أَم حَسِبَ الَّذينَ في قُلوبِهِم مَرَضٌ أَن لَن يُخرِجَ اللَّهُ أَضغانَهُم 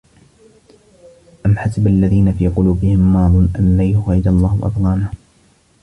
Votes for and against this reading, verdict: 1, 2, rejected